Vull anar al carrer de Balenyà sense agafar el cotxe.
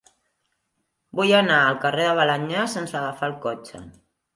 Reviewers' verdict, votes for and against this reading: accepted, 3, 0